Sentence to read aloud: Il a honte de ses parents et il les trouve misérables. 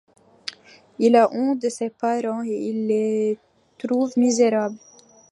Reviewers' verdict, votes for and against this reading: accepted, 2, 0